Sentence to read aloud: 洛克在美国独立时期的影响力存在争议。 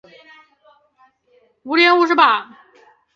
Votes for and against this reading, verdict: 0, 3, rejected